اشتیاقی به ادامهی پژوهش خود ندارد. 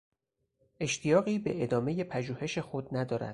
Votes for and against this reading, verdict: 4, 0, accepted